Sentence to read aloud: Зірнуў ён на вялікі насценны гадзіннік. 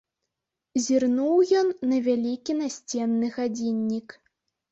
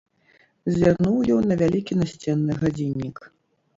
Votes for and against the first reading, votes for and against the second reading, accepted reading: 2, 0, 0, 2, first